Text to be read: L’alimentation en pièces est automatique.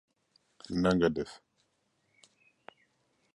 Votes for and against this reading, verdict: 0, 2, rejected